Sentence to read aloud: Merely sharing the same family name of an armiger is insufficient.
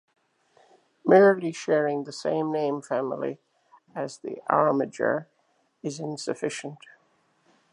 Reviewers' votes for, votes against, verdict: 0, 2, rejected